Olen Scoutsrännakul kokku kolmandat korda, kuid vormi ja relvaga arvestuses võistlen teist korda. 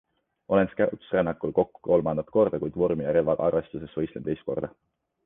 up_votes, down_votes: 2, 1